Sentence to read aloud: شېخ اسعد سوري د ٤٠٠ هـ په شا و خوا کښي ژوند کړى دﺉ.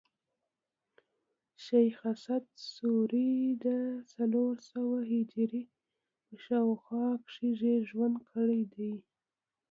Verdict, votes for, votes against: rejected, 0, 2